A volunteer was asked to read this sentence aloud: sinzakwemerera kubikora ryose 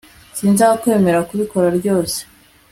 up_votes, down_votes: 2, 0